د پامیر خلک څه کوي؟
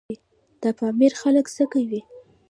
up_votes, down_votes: 1, 2